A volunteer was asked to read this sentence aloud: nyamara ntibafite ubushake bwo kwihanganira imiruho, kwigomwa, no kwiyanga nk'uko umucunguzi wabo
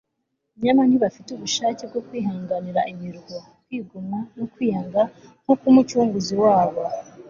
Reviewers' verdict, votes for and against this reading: accepted, 2, 1